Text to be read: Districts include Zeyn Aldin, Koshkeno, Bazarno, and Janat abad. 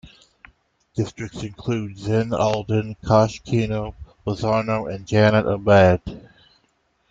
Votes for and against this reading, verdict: 2, 0, accepted